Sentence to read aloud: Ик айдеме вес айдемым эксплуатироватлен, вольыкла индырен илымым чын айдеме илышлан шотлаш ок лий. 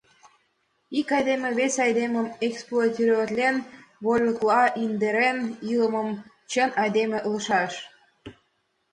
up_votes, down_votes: 1, 5